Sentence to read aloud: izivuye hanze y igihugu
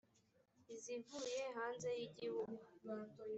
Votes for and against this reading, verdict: 2, 0, accepted